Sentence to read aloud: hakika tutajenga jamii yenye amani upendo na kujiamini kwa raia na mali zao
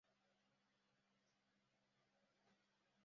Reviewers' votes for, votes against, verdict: 0, 2, rejected